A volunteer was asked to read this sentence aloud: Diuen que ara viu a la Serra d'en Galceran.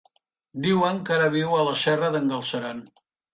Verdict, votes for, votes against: accepted, 3, 0